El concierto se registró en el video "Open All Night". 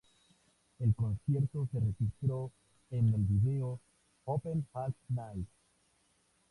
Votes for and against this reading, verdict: 2, 0, accepted